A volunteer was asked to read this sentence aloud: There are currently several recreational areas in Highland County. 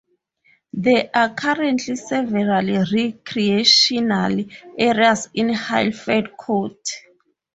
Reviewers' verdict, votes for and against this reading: rejected, 2, 2